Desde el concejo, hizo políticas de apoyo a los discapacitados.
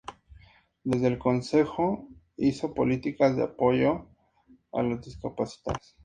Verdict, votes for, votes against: accepted, 4, 0